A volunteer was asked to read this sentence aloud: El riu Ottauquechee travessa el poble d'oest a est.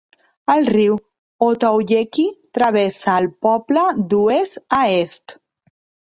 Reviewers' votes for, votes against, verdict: 2, 0, accepted